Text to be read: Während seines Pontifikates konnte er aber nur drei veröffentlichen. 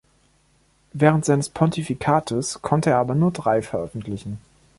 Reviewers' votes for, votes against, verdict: 2, 0, accepted